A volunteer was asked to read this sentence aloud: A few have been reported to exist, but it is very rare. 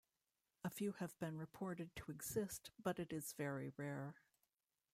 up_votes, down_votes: 1, 2